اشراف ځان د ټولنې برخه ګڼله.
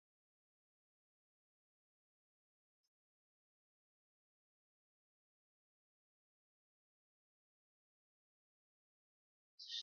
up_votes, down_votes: 0, 2